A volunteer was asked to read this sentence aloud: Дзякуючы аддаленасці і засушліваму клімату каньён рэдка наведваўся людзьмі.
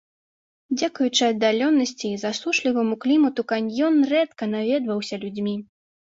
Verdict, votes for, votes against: rejected, 0, 2